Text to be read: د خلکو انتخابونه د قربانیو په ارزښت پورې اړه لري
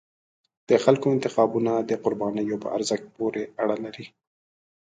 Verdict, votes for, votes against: accepted, 2, 0